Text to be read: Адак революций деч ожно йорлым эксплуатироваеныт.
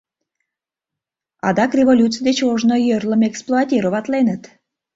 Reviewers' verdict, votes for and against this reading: accepted, 2, 1